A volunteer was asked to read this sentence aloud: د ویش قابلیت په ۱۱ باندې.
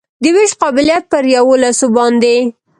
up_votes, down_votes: 0, 2